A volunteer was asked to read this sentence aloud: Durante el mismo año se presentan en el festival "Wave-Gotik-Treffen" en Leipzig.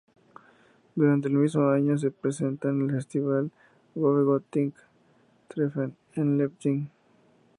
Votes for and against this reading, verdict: 2, 0, accepted